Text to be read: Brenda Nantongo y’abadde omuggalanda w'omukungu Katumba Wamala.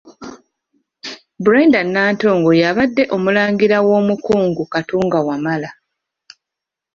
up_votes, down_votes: 1, 2